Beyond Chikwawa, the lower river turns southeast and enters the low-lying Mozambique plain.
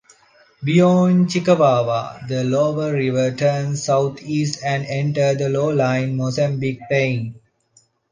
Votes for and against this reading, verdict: 0, 2, rejected